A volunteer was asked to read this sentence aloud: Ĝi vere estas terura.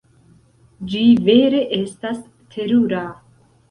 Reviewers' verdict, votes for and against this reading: accepted, 2, 0